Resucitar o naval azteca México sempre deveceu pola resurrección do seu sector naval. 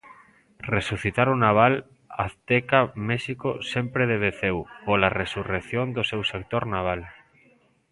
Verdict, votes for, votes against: accepted, 2, 0